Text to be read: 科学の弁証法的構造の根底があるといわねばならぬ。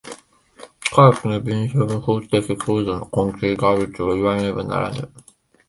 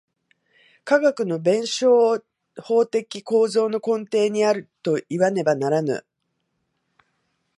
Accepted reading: first